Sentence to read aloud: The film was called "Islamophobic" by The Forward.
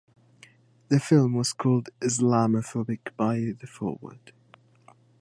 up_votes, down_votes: 2, 1